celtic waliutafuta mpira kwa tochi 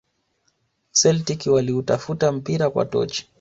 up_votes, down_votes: 1, 2